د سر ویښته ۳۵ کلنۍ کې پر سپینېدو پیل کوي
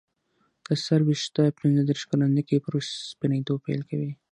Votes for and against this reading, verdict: 0, 2, rejected